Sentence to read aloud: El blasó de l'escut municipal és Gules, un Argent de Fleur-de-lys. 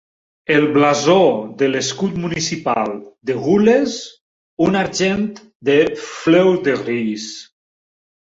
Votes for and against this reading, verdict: 0, 3, rejected